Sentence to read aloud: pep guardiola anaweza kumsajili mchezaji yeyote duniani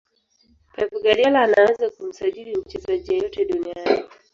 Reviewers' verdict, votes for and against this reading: rejected, 2, 3